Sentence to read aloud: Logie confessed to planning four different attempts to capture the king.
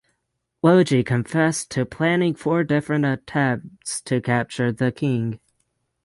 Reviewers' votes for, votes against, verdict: 6, 0, accepted